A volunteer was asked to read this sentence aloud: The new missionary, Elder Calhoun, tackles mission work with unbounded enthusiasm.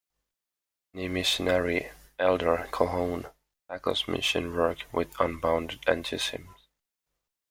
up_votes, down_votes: 0, 2